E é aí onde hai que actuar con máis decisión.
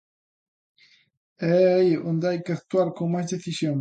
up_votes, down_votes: 2, 0